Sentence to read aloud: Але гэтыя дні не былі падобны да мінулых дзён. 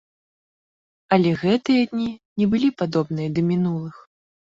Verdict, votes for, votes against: rejected, 1, 2